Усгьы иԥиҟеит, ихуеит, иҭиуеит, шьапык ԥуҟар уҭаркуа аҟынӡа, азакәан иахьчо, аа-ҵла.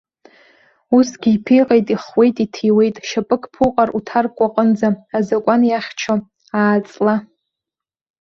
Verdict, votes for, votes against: rejected, 1, 2